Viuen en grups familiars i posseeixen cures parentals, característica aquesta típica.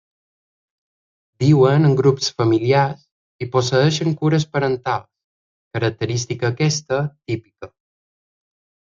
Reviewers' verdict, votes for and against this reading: accepted, 2, 0